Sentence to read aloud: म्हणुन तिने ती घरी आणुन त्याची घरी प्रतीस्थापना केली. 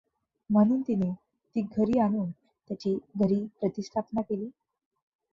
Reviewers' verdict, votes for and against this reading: accepted, 2, 0